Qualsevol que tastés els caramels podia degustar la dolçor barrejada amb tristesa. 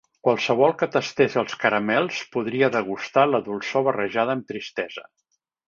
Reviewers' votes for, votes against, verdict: 0, 2, rejected